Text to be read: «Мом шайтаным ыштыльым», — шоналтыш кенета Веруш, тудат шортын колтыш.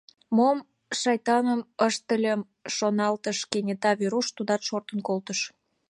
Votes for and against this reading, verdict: 2, 0, accepted